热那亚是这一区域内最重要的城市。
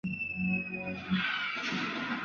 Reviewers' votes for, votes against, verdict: 0, 3, rejected